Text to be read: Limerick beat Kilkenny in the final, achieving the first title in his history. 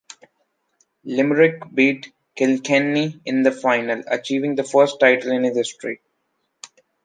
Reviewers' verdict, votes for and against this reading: rejected, 1, 2